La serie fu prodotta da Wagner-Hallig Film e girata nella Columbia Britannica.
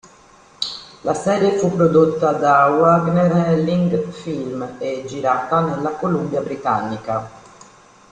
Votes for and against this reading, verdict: 0, 2, rejected